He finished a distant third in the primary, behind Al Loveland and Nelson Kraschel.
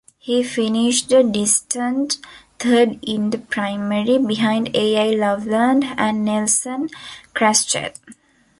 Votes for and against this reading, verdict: 2, 1, accepted